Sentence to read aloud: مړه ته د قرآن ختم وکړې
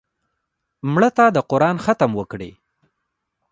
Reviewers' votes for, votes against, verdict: 0, 2, rejected